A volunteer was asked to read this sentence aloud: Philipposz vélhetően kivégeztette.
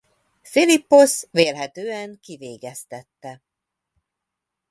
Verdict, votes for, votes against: accepted, 2, 0